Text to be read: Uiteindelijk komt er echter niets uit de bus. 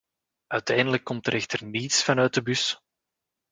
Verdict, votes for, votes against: rejected, 0, 2